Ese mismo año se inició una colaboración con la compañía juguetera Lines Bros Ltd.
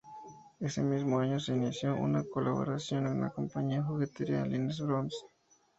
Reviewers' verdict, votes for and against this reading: rejected, 0, 2